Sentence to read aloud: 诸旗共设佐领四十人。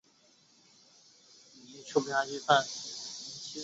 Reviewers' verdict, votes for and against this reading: rejected, 0, 5